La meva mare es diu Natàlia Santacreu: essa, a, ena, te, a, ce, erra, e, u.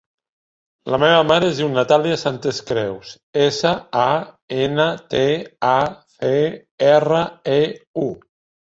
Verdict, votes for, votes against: rejected, 0, 2